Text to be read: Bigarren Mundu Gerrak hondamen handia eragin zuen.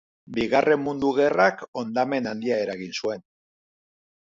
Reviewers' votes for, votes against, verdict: 2, 0, accepted